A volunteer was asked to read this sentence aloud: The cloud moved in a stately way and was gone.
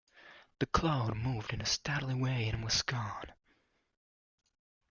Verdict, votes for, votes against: rejected, 0, 2